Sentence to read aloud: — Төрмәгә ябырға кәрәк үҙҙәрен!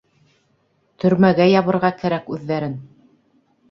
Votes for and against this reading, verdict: 2, 0, accepted